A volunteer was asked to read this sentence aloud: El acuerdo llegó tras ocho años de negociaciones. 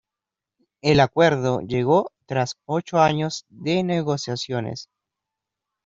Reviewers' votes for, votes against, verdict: 1, 2, rejected